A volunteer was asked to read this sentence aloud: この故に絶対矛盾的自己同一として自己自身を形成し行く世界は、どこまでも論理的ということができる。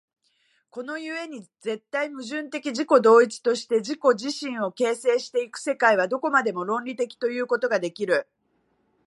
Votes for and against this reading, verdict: 2, 0, accepted